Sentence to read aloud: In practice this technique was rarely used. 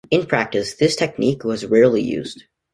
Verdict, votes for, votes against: accepted, 2, 0